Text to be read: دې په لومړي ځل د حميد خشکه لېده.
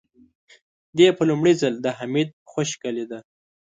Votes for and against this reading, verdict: 2, 0, accepted